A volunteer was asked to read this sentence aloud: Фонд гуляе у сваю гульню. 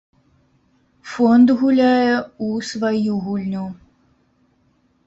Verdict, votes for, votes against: accepted, 2, 0